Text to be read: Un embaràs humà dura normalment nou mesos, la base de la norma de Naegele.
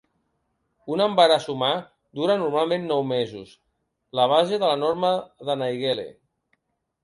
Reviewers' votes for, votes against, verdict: 2, 0, accepted